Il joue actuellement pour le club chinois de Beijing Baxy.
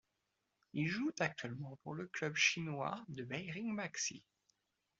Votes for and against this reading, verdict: 0, 2, rejected